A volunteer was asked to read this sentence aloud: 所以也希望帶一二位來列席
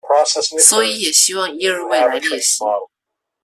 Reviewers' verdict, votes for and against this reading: rejected, 0, 2